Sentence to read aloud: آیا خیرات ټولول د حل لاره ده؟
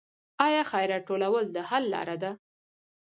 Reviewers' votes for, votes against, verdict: 0, 2, rejected